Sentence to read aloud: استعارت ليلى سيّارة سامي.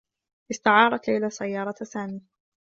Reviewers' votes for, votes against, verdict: 2, 0, accepted